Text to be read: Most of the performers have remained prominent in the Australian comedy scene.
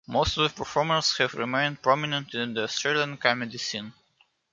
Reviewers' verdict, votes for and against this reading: accepted, 2, 0